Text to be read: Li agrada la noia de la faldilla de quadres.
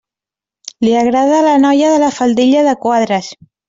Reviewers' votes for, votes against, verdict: 2, 0, accepted